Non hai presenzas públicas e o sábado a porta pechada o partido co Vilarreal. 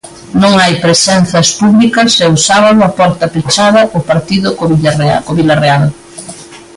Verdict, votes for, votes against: rejected, 0, 2